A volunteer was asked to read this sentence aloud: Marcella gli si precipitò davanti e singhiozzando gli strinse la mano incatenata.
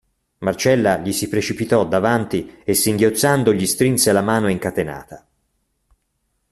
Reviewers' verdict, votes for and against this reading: accepted, 2, 0